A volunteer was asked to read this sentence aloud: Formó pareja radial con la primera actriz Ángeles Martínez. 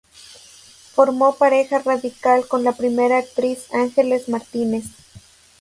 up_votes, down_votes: 1, 2